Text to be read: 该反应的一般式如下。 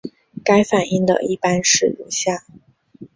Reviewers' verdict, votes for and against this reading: accepted, 2, 0